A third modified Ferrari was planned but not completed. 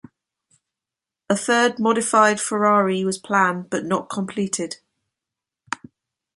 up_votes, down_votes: 2, 0